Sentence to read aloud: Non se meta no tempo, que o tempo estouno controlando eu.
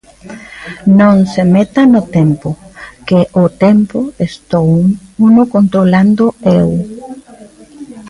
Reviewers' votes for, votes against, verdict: 0, 2, rejected